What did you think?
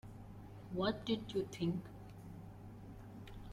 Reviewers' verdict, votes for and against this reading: accepted, 2, 0